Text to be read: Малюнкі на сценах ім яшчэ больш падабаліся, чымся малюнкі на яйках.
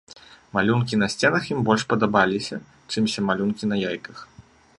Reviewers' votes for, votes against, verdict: 0, 2, rejected